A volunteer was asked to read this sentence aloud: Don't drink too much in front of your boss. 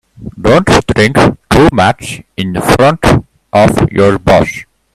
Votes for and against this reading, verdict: 1, 2, rejected